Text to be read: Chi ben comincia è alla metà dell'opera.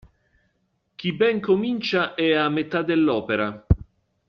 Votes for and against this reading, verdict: 1, 2, rejected